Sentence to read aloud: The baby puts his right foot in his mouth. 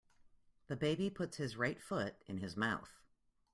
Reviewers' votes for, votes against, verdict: 2, 0, accepted